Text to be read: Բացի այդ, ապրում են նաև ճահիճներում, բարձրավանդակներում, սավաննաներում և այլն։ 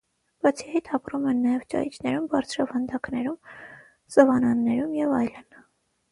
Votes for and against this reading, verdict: 6, 3, accepted